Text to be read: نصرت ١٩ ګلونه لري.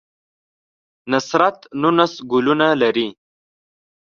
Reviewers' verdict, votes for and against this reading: rejected, 0, 2